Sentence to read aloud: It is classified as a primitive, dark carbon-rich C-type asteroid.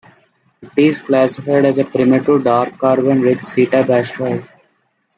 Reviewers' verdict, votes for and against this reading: accepted, 2, 1